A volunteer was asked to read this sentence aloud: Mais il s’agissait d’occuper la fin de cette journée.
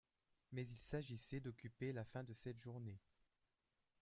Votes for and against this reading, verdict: 2, 1, accepted